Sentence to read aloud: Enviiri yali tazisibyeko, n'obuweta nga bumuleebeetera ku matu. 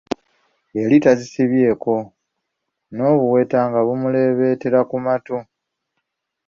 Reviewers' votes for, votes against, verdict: 0, 2, rejected